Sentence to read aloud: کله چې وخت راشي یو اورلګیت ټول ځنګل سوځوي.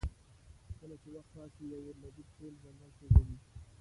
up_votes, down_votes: 0, 2